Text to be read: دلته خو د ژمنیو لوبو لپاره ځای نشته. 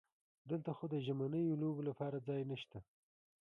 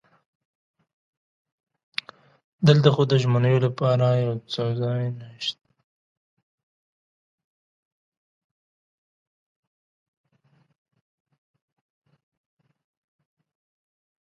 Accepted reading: first